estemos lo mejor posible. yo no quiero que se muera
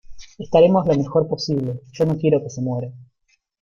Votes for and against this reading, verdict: 1, 2, rejected